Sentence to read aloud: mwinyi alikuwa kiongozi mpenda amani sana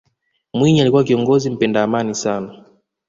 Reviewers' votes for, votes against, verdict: 2, 0, accepted